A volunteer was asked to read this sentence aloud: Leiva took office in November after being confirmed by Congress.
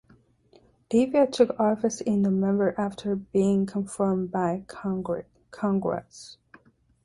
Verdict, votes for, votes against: rejected, 0, 2